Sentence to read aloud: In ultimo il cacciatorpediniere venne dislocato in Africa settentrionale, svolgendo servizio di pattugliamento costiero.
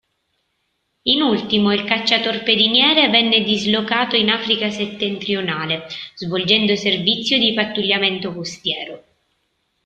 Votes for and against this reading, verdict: 2, 0, accepted